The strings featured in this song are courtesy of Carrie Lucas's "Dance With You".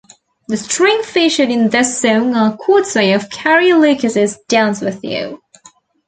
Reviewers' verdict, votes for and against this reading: rejected, 1, 2